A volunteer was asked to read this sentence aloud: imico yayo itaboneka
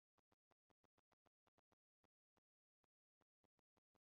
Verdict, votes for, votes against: rejected, 0, 2